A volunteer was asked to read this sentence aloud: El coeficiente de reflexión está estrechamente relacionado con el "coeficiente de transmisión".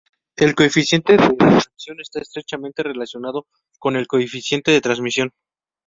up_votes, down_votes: 0, 2